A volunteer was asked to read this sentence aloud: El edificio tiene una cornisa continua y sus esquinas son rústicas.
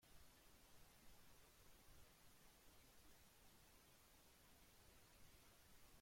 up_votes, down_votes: 0, 2